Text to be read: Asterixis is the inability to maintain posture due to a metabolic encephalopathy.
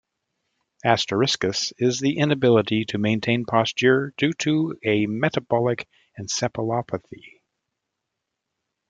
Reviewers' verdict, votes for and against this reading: rejected, 0, 2